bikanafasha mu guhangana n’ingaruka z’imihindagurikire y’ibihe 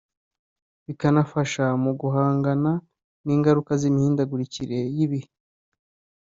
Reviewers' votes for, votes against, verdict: 2, 1, accepted